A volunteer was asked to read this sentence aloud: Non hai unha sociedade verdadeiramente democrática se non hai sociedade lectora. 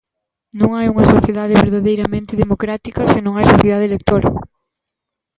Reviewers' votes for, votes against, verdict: 1, 2, rejected